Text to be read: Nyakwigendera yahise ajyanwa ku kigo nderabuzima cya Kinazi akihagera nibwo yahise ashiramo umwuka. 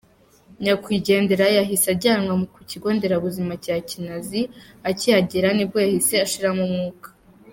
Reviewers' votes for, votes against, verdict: 2, 0, accepted